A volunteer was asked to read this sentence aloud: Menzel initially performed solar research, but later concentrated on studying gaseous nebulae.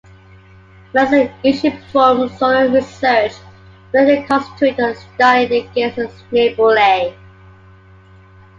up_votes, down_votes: 0, 2